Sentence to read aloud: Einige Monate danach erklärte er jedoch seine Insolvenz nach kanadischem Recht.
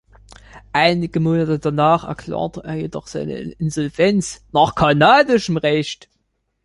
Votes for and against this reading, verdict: 2, 1, accepted